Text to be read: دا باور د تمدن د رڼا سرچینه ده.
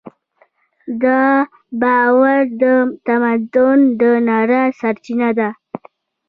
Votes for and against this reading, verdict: 2, 0, accepted